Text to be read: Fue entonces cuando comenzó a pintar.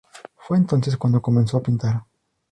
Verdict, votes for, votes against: accepted, 2, 0